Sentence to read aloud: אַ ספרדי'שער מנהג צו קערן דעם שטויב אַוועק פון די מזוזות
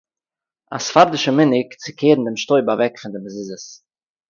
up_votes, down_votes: 4, 0